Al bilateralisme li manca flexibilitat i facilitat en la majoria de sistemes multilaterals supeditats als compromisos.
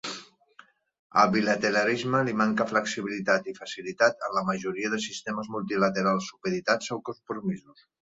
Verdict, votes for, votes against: accepted, 2, 0